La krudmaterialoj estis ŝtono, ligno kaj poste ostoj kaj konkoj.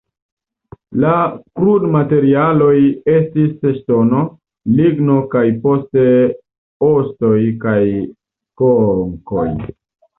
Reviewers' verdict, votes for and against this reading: rejected, 0, 2